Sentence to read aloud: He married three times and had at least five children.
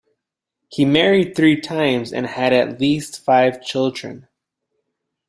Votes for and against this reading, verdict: 2, 0, accepted